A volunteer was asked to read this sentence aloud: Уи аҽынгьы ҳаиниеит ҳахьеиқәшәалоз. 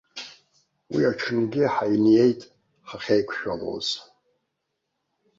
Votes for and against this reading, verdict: 2, 0, accepted